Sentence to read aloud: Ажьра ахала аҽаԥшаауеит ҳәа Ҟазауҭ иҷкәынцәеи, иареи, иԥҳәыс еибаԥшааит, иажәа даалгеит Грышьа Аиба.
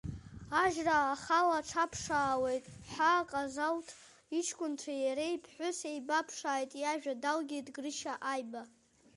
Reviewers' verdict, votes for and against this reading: rejected, 1, 2